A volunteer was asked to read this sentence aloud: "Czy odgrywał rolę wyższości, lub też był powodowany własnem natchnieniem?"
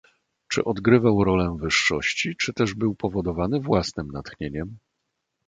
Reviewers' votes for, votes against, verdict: 1, 3, rejected